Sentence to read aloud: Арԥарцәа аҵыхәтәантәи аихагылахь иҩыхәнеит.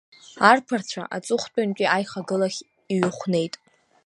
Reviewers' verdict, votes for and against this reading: accepted, 2, 0